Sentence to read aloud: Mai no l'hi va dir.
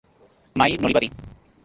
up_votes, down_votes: 1, 2